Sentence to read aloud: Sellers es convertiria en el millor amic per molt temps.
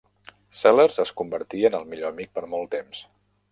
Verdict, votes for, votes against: rejected, 0, 2